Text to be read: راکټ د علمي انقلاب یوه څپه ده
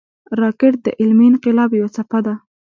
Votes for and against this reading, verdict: 2, 0, accepted